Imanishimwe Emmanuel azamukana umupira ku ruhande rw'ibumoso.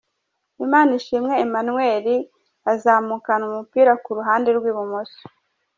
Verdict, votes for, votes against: accepted, 2, 0